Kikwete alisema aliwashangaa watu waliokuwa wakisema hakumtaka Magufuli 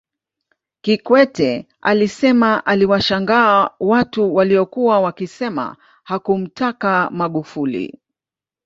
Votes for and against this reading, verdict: 2, 0, accepted